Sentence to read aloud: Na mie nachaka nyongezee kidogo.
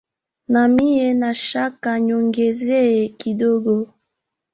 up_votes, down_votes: 2, 1